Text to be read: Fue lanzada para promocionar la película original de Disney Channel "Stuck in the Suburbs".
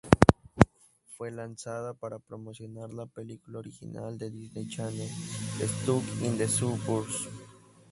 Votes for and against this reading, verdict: 0, 2, rejected